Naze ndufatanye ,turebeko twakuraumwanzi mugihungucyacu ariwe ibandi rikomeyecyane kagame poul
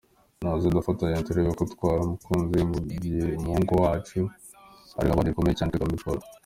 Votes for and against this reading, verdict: 0, 2, rejected